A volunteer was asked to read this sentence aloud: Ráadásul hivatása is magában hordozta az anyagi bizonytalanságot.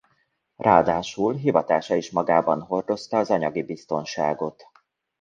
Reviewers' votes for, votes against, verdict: 0, 2, rejected